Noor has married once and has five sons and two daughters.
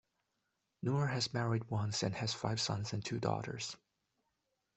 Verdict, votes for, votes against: accepted, 2, 0